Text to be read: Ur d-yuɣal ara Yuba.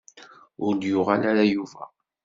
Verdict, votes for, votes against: accepted, 2, 0